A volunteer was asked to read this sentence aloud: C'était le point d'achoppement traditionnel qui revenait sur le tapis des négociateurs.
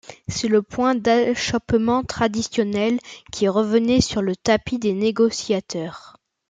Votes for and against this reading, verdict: 1, 2, rejected